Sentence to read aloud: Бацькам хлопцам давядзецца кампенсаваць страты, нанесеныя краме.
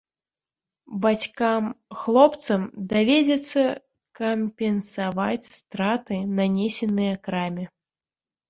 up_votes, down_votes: 0, 2